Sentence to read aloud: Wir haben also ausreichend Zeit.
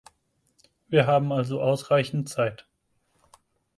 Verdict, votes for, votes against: accepted, 4, 0